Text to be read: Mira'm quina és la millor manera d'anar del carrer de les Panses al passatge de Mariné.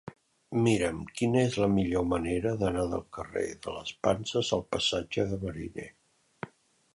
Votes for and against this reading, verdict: 2, 1, accepted